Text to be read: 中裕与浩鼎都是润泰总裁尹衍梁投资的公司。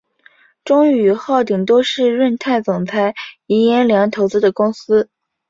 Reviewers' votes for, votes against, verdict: 2, 1, accepted